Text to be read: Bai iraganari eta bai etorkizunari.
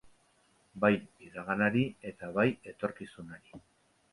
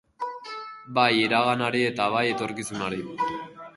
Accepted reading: first